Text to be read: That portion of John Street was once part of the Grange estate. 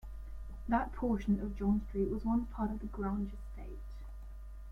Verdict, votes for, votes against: accepted, 2, 0